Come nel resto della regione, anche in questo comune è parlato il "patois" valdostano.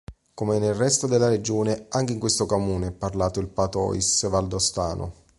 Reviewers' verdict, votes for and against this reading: rejected, 1, 3